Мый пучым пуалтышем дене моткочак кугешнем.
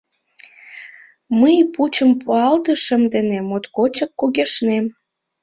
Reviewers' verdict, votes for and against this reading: rejected, 0, 2